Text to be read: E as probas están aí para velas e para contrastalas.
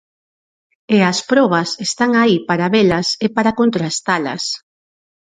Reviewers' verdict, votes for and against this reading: accepted, 4, 0